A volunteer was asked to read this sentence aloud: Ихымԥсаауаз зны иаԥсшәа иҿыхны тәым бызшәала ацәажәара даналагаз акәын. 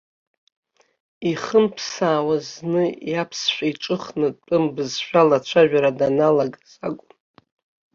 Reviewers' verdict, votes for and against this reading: accepted, 3, 1